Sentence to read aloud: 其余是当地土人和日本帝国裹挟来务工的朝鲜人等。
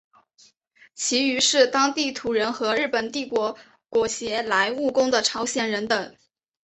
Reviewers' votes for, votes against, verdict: 2, 0, accepted